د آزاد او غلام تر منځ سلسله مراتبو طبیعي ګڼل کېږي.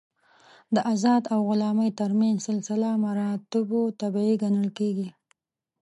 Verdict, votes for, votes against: accepted, 5, 3